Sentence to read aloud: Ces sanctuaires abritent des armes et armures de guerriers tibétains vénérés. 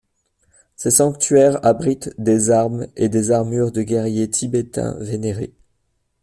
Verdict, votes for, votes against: accepted, 2, 1